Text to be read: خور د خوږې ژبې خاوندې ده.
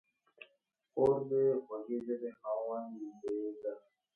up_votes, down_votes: 0, 5